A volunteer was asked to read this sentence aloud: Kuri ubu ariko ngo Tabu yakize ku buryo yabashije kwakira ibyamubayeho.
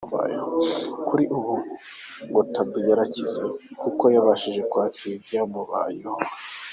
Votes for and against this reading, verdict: 2, 1, accepted